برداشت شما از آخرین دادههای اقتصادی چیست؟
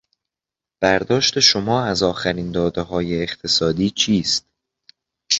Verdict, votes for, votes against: accepted, 3, 0